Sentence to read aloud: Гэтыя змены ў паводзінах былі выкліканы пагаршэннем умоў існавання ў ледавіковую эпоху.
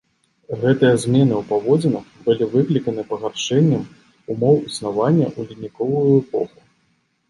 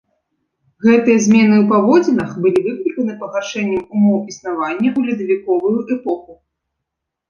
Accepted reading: first